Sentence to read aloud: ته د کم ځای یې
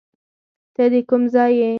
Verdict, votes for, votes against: rejected, 2, 4